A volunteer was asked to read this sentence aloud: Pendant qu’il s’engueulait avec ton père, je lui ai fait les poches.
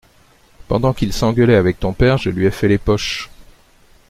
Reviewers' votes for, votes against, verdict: 2, 0, accepted